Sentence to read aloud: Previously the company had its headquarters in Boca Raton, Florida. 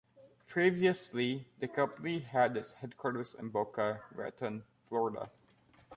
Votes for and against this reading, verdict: 2, 0, accepted